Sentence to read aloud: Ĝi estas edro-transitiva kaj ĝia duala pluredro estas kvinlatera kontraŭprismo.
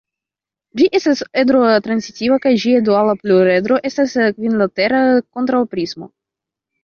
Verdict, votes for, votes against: rejected, 1, 2